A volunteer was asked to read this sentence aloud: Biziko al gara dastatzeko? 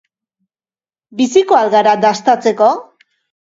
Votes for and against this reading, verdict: 2, 0, accepted